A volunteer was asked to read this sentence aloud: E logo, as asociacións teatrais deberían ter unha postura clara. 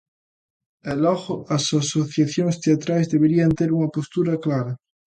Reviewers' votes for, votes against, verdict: 2, 0, accepted